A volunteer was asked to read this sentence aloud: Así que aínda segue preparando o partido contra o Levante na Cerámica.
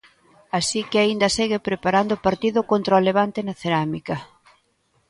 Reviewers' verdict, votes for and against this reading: accepted, 2, 0